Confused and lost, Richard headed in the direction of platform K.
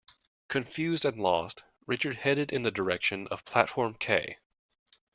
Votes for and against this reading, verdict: 2, 0, accepted